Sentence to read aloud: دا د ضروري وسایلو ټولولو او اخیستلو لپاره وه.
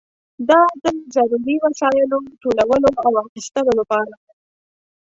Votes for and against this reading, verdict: 0, 2, rejected